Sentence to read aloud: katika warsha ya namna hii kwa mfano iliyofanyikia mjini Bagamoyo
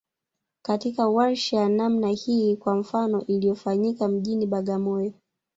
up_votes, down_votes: 1, 2